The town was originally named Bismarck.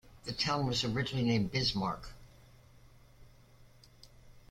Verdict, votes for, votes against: accepted, 2, 0